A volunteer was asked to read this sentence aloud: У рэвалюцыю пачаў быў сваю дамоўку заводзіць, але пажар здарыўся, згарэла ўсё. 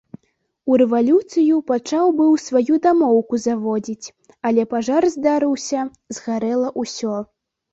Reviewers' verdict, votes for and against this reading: accepted, 2, 0